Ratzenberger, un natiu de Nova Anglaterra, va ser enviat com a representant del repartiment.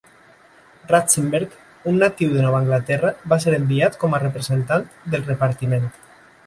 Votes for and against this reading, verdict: 2, 1, accepted